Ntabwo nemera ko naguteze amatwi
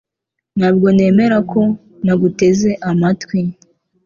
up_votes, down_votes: 2, 0